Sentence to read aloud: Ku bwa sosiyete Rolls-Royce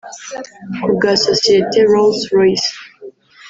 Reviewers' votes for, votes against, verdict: 1, 2, rejected